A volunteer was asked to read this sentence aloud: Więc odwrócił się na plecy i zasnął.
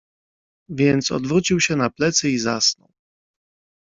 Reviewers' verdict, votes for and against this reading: rejected, 1, 2